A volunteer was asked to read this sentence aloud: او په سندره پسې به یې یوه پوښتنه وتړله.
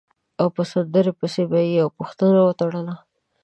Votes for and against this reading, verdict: 0, 2, rejected